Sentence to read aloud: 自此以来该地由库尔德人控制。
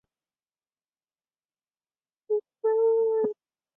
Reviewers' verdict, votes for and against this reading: rejected, 0, 5